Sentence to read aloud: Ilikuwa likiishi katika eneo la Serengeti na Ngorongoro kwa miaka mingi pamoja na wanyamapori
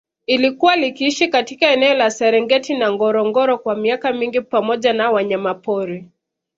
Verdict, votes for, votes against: accepted, 2, 0